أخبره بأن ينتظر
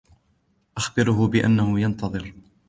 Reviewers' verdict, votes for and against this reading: rejected, 2, 3